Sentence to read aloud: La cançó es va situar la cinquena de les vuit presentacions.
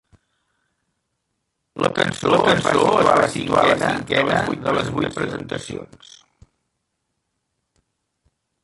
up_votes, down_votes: 0, 2